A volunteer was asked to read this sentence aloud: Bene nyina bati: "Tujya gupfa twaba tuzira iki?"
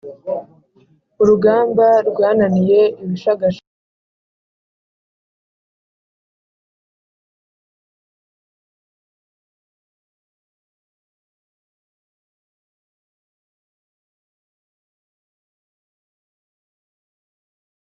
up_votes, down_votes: 1, 2